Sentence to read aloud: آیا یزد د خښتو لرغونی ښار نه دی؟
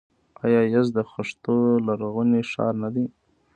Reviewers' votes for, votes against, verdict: 2, 0, accepted